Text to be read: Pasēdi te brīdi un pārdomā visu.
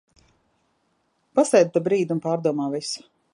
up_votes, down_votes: 1, 2